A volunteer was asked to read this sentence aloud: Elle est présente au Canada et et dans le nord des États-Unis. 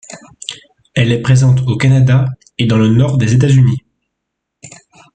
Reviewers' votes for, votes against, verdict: 0, 2, rejected